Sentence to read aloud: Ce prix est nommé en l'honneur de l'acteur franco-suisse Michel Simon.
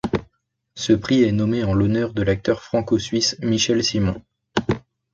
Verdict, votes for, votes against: accepted, 2, 0